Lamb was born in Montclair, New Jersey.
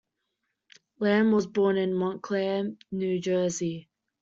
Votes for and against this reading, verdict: 2, 0, accepted